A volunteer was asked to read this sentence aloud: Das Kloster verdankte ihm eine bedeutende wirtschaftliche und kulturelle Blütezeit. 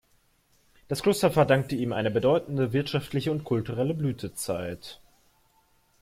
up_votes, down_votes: 2, 0